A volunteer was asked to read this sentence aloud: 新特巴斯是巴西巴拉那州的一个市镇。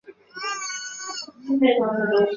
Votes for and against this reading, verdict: 0, 2, rejected